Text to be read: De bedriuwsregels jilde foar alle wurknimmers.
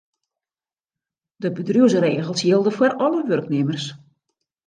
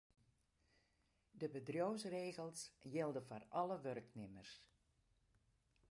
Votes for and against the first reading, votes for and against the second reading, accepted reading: 2, 0, 0, 2, first